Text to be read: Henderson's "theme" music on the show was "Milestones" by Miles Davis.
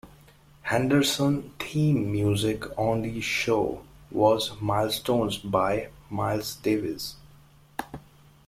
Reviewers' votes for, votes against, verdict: 1, 2, rejected